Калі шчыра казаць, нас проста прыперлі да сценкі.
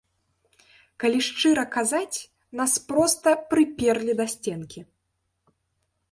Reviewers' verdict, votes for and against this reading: accepted, 2, 0